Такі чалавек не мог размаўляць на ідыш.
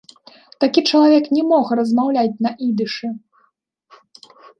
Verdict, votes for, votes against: rejected, 0, 2